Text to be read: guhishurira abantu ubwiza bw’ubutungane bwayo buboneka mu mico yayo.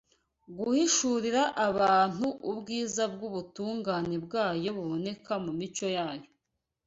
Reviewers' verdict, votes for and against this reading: accepted, 2, 0